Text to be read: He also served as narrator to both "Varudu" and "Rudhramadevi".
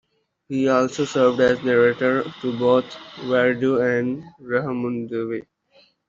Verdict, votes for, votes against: accepted, 2, 0